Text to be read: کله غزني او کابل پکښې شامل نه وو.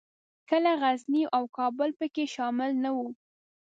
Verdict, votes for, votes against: accepted, 2, 0